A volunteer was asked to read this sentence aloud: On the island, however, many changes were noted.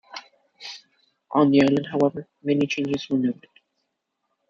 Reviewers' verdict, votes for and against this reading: rejected, 1, 2